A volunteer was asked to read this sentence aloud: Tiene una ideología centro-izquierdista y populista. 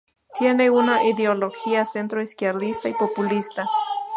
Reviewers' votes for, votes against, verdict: 2, 0, accepted